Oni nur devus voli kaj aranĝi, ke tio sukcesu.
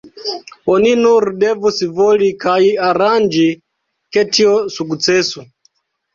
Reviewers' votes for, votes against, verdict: 0, 2, rejected